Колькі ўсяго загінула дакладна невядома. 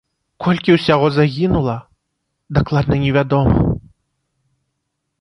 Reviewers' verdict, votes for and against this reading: accepted, 2, 0